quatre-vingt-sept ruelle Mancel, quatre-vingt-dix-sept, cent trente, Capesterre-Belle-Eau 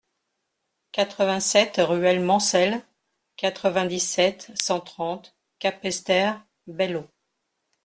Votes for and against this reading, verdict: 2, 0, accepted